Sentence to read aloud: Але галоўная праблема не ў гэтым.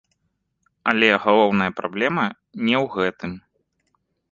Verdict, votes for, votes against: accepted, 2, 0